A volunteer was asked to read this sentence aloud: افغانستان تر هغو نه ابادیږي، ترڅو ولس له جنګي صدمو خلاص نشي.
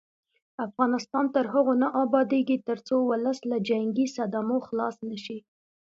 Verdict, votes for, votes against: accepted, 2, 1